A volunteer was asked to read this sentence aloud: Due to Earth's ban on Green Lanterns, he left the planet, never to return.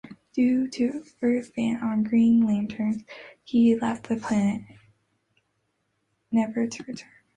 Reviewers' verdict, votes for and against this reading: accepted, 2, 0